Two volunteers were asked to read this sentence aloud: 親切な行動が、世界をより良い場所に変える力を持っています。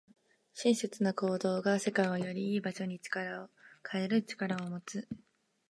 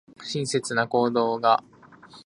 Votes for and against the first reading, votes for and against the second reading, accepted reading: 2, 1, 0, 2, first